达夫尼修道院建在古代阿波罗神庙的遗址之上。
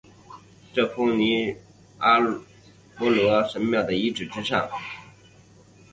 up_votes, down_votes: 0, 2